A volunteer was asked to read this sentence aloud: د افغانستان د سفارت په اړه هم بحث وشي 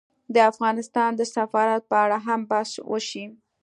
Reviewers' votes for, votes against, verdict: 2, 0, accepted